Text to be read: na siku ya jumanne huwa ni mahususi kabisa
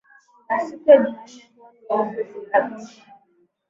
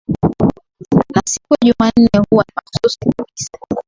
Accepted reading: second